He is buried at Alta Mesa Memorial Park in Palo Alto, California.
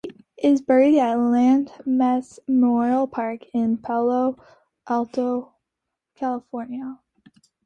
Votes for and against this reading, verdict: 1, 2, rejected